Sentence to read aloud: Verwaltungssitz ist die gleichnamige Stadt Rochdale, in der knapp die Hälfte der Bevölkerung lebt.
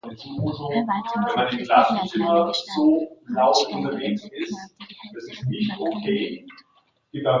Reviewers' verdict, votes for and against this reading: rejected, 0, 2